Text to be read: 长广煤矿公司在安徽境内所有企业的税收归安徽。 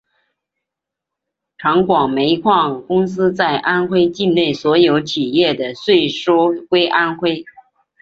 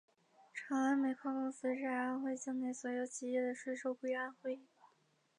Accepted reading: first